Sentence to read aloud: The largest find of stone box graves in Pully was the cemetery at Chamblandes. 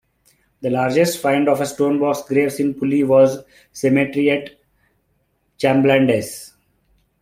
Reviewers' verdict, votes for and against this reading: accepted, 2, 1